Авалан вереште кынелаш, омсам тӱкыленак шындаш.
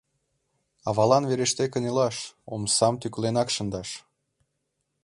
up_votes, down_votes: 2, 0